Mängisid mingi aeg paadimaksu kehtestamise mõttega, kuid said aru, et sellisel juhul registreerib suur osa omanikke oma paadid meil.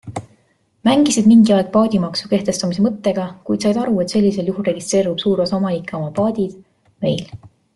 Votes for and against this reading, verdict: 2, 0, accepted